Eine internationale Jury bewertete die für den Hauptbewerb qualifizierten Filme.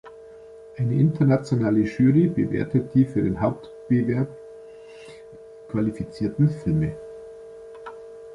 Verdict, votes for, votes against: rejected, 1, 2